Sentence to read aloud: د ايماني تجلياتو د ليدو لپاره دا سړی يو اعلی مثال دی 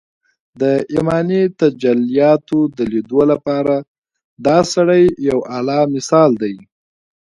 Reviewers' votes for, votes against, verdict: 2, 0, accepted